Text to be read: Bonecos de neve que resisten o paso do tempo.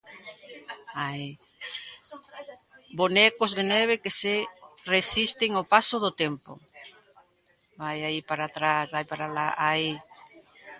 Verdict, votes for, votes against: rejected, 0, 2